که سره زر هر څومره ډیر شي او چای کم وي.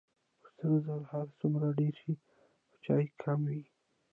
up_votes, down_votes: 2, 0